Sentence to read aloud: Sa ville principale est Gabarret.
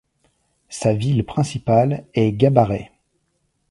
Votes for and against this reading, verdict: 2, 0, accepted